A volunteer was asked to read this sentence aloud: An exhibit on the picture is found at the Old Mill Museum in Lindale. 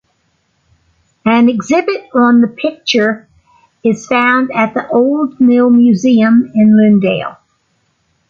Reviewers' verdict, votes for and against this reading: accepted, 2, 0